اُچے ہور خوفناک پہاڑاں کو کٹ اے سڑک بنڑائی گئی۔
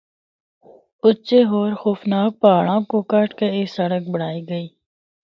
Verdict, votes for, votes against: accepted, 2, 0